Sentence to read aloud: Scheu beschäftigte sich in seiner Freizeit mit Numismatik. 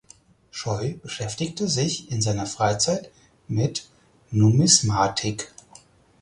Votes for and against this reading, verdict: 4, 0, accepted